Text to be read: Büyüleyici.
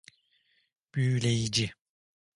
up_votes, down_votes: 2, 0